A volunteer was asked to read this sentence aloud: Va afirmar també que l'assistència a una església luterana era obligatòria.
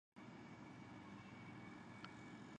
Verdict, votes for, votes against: rejected, 0, 2